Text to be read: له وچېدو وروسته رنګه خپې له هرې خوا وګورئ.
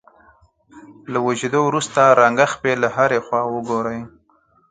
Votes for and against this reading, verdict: 4, 0, accepted